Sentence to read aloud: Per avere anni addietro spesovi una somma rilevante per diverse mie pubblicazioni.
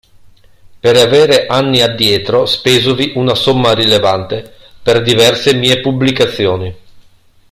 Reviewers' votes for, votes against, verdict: 2, 1, accepted